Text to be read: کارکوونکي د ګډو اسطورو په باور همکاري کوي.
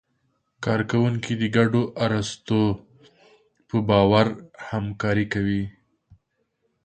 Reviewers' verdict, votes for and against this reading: rejected, 1, 3